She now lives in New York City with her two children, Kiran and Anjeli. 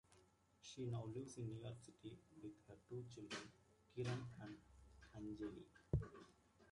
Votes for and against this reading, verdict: 0, 2, rejected